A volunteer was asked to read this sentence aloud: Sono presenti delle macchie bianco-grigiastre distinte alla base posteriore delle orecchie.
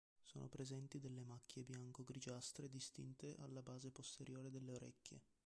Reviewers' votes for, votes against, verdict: 2, 1, accepted